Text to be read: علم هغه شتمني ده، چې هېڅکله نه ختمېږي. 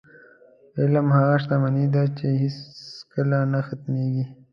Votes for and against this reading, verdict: 2, 0, accepted